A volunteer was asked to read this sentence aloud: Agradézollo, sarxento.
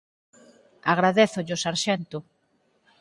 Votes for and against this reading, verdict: 4, 0, accepted